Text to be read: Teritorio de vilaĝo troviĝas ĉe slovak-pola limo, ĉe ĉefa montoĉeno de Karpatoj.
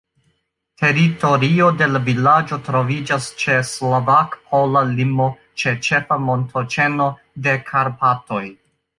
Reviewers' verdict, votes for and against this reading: rejected, 0, 2